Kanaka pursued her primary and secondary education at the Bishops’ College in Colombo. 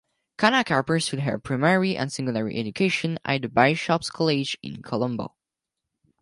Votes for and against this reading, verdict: 2, 4, rejected